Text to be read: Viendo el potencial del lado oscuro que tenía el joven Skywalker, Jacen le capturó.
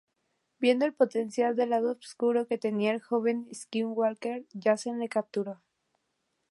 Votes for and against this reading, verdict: 2, 0, accepted